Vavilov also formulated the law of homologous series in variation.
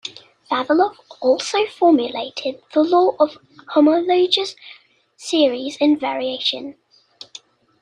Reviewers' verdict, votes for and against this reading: rejected, 1, 2